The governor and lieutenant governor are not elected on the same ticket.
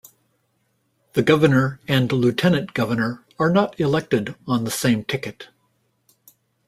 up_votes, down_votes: 1, 2